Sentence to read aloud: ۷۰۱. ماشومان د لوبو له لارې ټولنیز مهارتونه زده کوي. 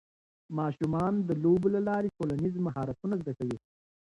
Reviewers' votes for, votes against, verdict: 0, 2, rejected